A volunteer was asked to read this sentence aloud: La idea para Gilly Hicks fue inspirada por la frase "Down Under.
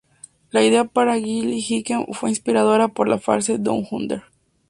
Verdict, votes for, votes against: accepted, 2, 0